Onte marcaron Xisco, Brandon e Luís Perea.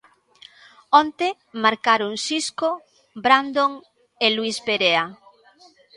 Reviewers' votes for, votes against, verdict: 1, 2, rejected